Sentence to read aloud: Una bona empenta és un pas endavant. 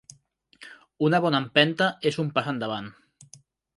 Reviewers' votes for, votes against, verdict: 4, 0, accepted